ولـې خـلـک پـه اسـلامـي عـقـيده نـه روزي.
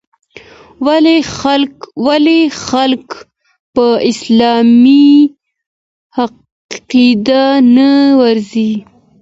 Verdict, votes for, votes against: rejected, 1, 2